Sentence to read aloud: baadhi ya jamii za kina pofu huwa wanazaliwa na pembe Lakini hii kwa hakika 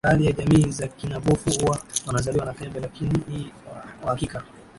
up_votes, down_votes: 2, 0